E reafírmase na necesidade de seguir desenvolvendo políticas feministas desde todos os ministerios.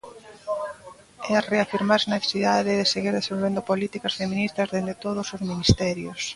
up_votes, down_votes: 0, 2